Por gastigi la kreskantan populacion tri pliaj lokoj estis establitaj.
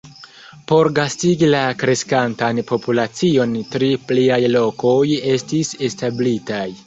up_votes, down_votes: 2, 0